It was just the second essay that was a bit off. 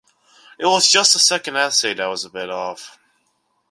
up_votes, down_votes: 2, 0